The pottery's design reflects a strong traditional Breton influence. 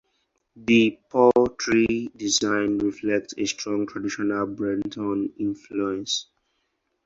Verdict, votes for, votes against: rejected, 0, 4